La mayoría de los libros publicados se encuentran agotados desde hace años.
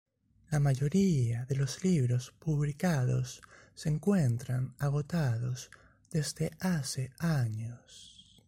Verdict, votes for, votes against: accepted, 2, 0